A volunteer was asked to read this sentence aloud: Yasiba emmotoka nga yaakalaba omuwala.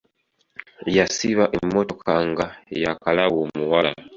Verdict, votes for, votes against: rejected, 0, 2